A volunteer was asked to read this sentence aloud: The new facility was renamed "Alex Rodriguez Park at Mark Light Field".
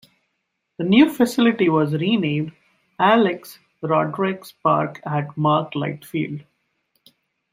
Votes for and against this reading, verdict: 1, 2, rejected